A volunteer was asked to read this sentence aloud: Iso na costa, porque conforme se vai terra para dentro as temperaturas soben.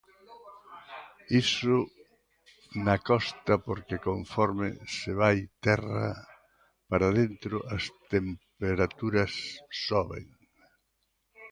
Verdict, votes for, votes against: accepted, 2, 0